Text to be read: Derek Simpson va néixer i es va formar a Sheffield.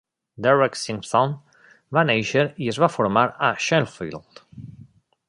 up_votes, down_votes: 0, 2